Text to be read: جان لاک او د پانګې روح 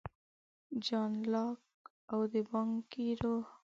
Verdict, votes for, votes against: rejected, 1, 2